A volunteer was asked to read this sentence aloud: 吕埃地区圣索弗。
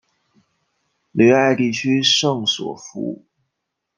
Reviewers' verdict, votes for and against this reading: accepted, 2, 0